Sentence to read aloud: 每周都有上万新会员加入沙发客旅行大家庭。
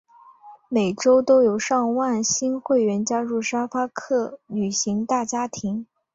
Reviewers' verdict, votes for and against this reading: accepted, 2, 1